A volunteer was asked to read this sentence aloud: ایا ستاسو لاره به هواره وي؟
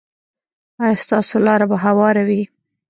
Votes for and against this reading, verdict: 0, 2, rejected